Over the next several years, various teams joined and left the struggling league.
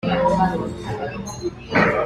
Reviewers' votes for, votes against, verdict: 0, 2, rejected